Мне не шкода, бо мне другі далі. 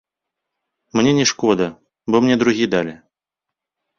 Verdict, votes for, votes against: accepted, 3, 0